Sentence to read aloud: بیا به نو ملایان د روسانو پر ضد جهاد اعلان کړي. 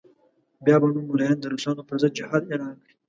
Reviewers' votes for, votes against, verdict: 2, 0, accepted